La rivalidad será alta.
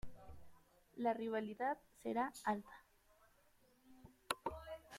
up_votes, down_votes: 1, 2